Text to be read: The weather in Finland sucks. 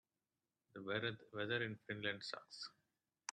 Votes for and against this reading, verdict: 0, 2, rejected